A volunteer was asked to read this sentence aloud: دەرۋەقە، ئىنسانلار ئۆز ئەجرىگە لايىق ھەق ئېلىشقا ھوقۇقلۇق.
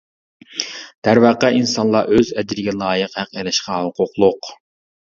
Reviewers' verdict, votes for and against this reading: rejected, 1, 2